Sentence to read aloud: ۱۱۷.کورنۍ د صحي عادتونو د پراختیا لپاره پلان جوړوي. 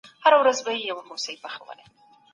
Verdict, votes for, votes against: rejected, 0, 2